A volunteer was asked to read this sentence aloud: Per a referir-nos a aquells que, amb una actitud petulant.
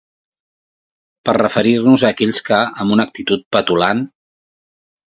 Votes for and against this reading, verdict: 1, 2, rejected